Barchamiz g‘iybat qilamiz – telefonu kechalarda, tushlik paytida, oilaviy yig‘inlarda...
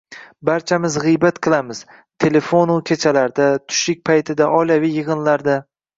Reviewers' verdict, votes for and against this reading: accepted, 2, 0